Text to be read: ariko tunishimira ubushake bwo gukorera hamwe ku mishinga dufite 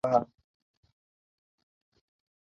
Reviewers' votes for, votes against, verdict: 0, 2, rejected